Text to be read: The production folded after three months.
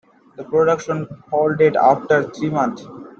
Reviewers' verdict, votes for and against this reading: rejected, 0, 2